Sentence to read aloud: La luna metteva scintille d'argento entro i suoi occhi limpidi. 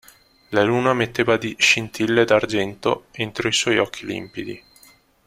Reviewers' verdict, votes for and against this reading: rejected, 0, 2